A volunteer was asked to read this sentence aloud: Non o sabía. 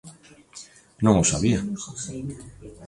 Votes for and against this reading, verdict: 2, 0, accepted